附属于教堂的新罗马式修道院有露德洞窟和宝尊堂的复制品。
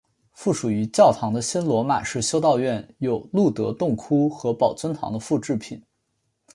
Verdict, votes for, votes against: accepted, 2, 0